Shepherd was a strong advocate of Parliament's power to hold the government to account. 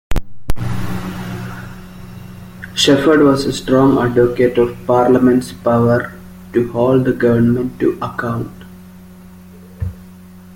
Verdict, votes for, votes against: accepted, 2, 0